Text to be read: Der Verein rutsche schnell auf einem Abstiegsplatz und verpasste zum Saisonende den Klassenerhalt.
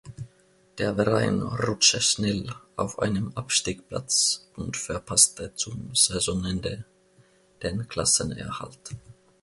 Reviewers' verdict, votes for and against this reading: rejected, 1, 2